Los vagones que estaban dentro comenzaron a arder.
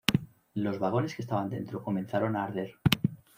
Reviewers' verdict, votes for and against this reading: rejected, 1, 2